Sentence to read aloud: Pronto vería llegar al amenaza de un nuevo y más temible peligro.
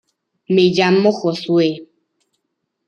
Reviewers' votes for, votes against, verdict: 0, 2, rejected